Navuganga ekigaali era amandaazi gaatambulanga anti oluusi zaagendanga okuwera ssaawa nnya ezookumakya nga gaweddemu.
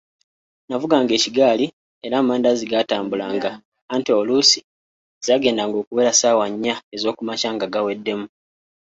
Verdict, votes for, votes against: accepted, 3, 0